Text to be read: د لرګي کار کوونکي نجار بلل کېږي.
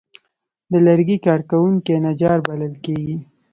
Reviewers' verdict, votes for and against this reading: accepted, 3, 0